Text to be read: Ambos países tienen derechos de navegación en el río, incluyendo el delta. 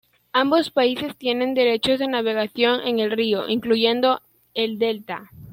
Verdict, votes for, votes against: accepted, 2, 0